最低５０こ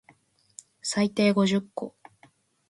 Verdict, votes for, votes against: rejected, 0, 2